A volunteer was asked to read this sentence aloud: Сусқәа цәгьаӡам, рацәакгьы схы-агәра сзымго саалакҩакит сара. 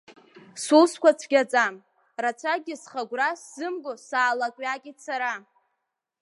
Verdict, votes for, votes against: accepted, 3, 1